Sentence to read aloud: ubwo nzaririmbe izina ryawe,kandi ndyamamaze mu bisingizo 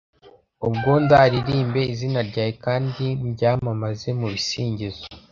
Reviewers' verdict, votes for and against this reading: rejected, 0, 2